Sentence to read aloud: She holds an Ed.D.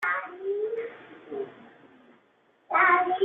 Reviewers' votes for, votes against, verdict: 1, 2, rejected